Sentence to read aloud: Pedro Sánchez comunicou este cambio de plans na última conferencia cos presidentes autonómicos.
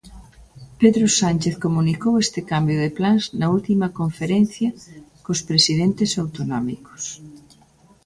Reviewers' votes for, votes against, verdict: 2, 0, accepted